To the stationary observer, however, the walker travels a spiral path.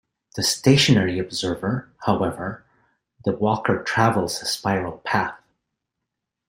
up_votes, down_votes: 0, 2